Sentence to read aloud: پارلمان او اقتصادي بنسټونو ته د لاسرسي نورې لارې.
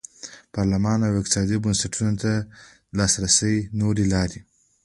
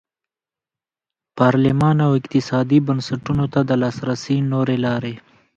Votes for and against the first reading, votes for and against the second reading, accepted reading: 2, 1, 0, 2, first